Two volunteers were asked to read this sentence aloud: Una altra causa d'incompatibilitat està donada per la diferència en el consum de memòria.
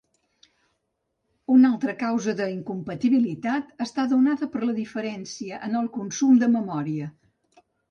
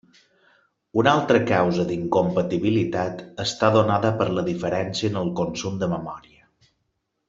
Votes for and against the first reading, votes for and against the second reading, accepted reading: 1, 2, 3, 0, second